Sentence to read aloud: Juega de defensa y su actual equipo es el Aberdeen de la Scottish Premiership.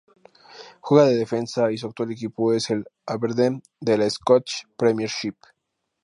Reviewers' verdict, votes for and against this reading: accepted, 2, 0